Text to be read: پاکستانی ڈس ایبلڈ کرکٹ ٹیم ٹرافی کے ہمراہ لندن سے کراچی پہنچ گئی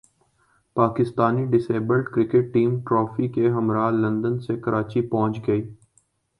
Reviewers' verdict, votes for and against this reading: accepted, 2, 0